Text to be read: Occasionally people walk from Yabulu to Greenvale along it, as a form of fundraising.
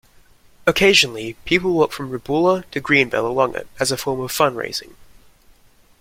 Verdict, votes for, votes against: rejected, 0, 2